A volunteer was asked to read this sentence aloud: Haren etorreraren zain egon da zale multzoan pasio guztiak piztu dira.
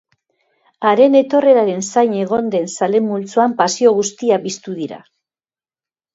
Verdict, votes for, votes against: rejected, 1, 2